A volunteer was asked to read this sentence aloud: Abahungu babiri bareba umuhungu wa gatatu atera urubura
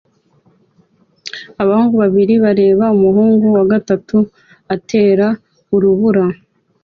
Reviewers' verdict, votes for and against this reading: accepted, 2, 0